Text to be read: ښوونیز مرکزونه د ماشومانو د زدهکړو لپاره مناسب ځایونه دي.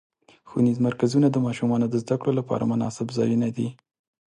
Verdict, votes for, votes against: accepted, 4, 0